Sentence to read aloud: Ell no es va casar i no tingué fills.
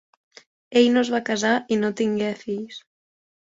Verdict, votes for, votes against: accepted, 3, 1